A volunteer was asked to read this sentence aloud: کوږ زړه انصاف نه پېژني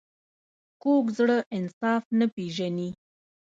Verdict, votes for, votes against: rejected, 1, 2